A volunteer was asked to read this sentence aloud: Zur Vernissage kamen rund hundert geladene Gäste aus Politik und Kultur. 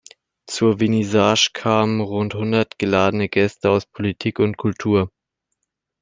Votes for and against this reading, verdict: 2, 0, accepted